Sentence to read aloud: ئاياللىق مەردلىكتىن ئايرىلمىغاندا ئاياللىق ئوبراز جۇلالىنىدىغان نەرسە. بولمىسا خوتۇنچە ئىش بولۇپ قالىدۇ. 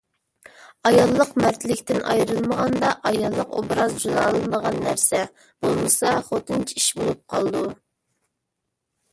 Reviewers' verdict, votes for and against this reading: rejected, 1, 2